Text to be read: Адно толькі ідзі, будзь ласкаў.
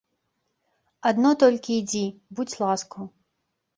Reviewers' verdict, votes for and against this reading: accepted, 2, 0